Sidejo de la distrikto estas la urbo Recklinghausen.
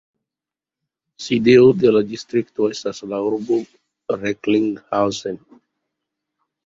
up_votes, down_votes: 2, 0